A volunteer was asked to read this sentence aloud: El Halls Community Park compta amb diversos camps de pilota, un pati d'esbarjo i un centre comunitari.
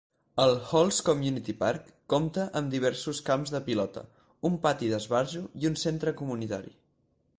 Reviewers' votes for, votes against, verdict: 4, 0, accepted